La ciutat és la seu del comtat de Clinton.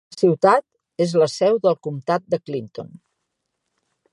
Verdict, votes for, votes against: rejected, 0, 2